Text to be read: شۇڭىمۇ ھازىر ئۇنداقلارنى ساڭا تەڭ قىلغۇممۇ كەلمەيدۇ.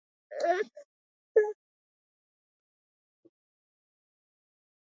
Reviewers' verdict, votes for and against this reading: rejected, 0, 2